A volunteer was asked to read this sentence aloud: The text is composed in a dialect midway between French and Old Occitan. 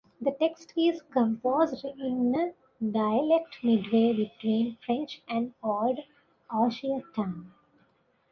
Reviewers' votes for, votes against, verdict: 0, 2, rejected